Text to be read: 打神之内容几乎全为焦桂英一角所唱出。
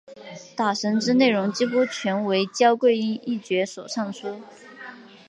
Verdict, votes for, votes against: rejected, 0, 2